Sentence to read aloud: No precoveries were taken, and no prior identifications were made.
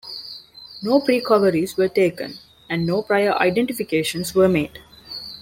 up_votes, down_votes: 2, 0